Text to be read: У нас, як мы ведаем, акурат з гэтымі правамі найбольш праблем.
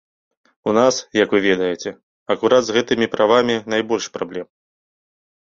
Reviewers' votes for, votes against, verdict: 0, 2, rejected